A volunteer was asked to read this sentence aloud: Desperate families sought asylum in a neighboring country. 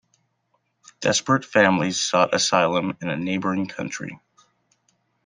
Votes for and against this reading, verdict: 2, 0, accepted